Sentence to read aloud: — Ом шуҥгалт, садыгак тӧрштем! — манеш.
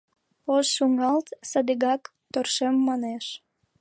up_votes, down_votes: 1, 5